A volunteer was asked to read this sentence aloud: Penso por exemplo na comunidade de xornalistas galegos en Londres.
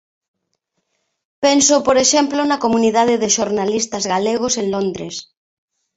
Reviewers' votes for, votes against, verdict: 2, 0, accepted